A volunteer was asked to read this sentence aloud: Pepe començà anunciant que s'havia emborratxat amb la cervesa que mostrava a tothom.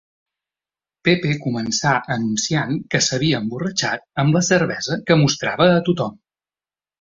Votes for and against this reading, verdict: 3, 0, accepted